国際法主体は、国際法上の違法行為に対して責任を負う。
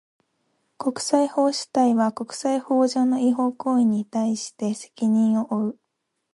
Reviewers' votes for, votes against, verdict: 0, 2, rejected